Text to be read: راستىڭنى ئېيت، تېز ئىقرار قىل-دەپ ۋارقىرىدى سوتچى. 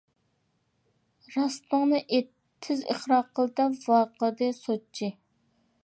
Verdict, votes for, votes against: rejected, 0, 2